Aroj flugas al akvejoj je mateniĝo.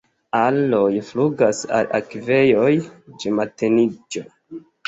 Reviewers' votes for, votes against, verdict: 1, 2, rejected